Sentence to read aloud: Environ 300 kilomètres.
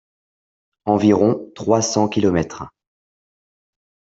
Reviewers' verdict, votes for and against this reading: rejected, 0, 2